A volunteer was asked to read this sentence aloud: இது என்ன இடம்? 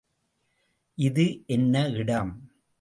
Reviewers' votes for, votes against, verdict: 2, 0, accepted